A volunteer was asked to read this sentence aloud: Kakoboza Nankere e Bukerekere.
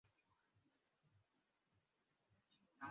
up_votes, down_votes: 0, 2